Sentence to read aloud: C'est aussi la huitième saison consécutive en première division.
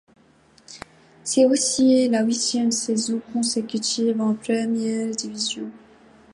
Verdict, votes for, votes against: accepted, 2, 0